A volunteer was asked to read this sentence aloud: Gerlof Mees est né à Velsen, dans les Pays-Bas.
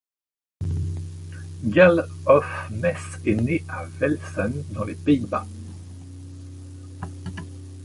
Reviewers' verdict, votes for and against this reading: accepted, 3, 0